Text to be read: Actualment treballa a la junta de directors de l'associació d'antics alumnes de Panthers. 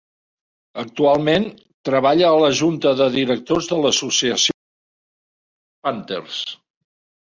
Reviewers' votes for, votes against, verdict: 0, 2, rejected